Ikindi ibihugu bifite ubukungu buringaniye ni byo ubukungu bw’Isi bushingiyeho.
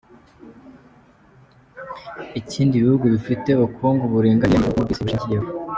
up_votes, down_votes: 1, 2